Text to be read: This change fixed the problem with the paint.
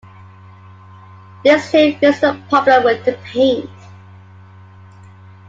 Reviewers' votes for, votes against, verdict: 2, 1, accepted